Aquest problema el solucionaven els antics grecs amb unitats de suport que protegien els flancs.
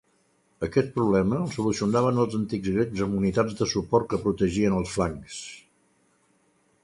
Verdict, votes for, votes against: accepted, 2, 0